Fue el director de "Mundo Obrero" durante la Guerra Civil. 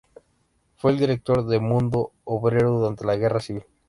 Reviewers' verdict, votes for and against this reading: accepted, 2, 0